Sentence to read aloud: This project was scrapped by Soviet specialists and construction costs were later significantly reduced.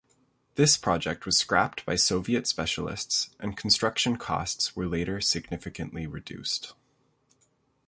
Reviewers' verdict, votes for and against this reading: accepted, 2, 0